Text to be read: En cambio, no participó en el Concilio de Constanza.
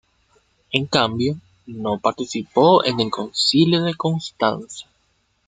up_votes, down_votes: 1, 2